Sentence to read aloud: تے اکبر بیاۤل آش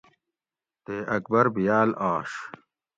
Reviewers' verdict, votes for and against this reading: accepted, 2, 0